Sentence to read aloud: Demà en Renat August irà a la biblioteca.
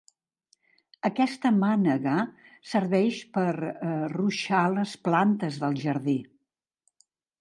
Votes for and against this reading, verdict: 1, 2, rejected